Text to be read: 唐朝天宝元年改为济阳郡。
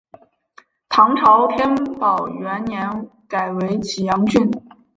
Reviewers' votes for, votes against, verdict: 2, 2, rejected